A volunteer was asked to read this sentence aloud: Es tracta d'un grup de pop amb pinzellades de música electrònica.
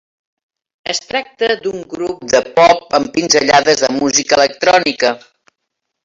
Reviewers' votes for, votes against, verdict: 1, 2, rejected